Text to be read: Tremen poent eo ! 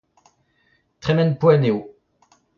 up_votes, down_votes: 0, 2